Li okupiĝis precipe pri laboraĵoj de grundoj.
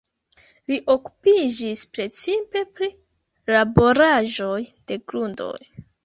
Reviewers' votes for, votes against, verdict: 2, 1, accepted